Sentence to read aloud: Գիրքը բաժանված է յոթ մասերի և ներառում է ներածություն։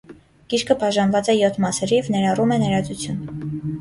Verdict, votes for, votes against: rejected, 0, 3